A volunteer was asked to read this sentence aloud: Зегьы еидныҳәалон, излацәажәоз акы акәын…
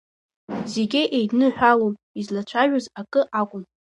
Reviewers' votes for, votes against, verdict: 2, 0, accepted